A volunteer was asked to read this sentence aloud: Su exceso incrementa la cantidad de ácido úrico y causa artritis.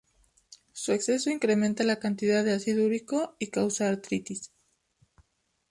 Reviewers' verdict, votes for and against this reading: rejected, 0, 2